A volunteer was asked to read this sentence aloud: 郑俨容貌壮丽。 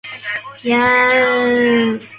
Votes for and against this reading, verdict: 0, 2, rejected